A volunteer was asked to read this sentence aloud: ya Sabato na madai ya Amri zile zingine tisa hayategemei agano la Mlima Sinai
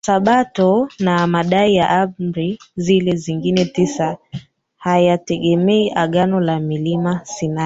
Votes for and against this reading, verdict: 0, 2, rejected